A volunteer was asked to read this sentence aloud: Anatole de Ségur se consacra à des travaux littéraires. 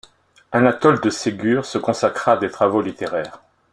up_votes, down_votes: 2, 0